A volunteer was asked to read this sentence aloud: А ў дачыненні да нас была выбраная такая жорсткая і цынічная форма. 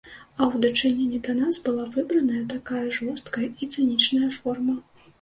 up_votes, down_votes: 2, 0